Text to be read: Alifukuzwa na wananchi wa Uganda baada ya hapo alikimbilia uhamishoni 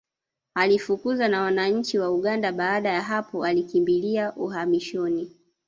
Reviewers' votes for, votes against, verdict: 2, 1, accepted